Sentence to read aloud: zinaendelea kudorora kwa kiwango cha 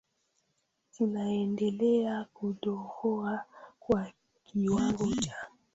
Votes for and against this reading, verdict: 0, 2, rejected